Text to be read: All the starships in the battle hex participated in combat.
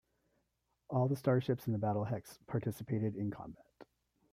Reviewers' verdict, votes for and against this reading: accepted, 2, 1